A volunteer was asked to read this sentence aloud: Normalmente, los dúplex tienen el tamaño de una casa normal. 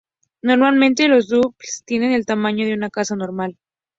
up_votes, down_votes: 0, 2